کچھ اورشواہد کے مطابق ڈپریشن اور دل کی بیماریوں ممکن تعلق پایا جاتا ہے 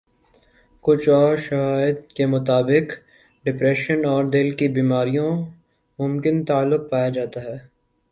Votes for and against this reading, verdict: 3, 0, accepted